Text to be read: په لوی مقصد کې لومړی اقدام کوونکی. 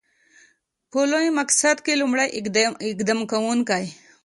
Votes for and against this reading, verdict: 2, 0, accepted